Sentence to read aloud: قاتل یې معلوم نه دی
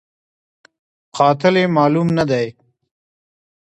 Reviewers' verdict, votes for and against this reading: rejected, 0, 2